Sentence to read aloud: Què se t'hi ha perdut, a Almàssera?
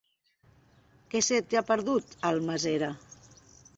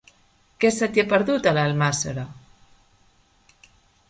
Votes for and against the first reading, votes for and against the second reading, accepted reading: 0, 3, 2, 1, second